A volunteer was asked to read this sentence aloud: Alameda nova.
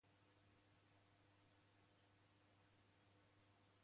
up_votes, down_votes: 0, 2